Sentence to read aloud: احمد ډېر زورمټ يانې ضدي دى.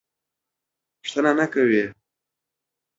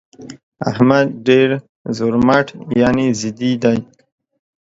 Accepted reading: second